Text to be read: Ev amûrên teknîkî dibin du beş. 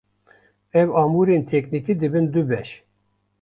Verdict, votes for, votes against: accepted, 2, 0